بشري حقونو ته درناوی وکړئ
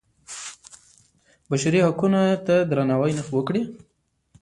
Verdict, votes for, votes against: rejected, 0, 2